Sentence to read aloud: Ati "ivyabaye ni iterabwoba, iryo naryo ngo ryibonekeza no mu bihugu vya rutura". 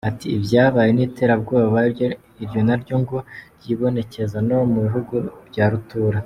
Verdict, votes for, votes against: rejected, 0, 2